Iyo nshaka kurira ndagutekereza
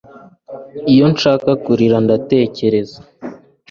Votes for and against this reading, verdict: 0, 2, rejected